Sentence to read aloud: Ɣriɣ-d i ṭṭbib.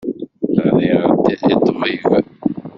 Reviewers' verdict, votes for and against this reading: rejected, 1, 2